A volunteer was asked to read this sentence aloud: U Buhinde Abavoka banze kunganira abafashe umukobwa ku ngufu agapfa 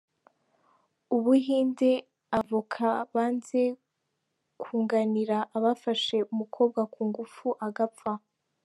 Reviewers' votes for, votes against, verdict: 1, 2, rejected